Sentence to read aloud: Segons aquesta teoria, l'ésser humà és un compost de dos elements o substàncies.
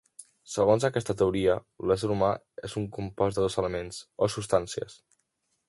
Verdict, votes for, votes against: accepted, 2, 0